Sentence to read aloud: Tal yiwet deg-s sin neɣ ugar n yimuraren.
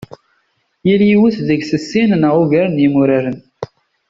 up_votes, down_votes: 2, 0